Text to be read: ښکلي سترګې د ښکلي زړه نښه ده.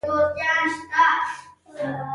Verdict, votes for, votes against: rejected, 0, 2